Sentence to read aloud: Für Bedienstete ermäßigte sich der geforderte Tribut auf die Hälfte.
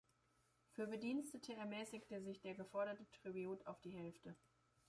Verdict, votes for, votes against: rejected, 0, 2